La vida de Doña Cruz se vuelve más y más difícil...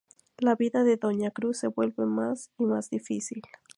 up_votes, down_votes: 2, 0